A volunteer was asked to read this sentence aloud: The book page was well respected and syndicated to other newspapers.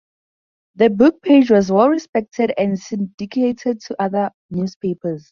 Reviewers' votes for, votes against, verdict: 2, 2, rejected